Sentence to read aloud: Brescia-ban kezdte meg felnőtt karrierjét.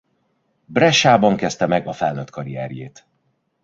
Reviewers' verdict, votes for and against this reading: rejected, 0, 2